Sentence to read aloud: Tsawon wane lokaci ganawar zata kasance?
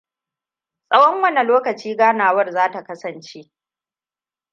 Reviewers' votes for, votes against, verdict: 2, 0, accepted